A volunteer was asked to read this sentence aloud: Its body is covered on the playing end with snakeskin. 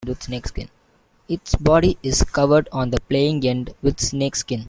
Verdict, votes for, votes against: rejected, 0, 2